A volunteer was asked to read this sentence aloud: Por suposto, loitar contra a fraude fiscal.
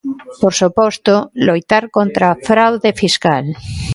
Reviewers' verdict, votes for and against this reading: accepted, 2, 1